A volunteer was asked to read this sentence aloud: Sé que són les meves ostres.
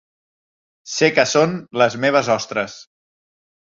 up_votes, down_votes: 3, 0